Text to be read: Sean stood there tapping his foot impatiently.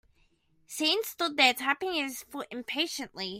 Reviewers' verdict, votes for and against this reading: rejected, 0, 2